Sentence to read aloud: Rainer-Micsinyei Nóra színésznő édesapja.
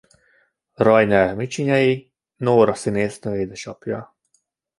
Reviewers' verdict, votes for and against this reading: accepted, 2, 0